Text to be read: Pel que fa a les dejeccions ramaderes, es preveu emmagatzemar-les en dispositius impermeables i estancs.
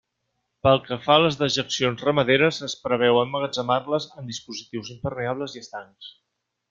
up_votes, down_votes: 2, 0